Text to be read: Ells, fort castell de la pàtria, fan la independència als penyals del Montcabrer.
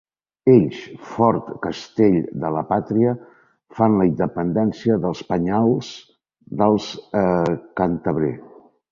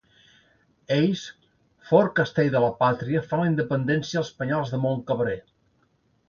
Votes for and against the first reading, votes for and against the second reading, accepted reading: 0, 3, 3, 0, second